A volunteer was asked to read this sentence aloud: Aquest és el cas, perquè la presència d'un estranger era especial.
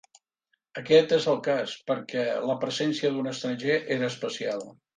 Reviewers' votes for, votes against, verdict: 3, 0, accepted